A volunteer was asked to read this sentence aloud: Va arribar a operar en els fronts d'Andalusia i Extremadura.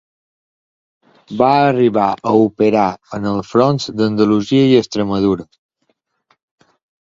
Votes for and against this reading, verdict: 2, 0, accepted